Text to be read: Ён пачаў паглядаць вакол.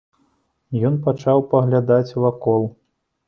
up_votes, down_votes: 2, 0